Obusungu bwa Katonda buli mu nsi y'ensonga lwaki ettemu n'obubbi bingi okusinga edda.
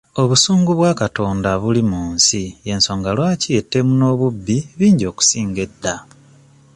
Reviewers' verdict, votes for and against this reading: accepted, 2, 0